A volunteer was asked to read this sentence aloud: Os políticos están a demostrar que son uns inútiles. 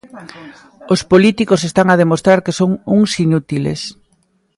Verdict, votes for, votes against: rejected, 1, 2